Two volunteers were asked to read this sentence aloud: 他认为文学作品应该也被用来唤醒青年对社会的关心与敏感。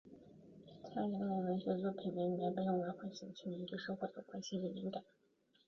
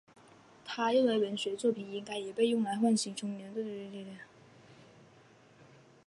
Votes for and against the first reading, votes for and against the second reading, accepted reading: 0, 5, 6, 2, second